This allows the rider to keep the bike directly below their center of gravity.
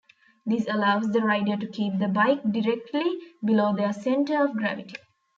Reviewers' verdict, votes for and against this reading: accepted, 2, 0